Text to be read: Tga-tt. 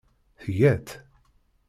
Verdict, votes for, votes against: rejected, 0, 2